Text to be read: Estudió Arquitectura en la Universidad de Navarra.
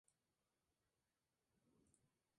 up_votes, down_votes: 0, 2